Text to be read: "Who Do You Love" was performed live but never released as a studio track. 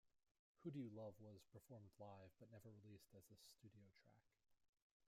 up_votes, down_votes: 1, 2